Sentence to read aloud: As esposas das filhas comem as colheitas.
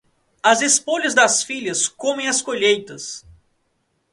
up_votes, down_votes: 0, 2